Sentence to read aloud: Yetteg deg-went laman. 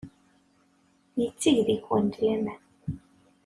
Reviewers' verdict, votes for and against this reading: accepted, 2, 0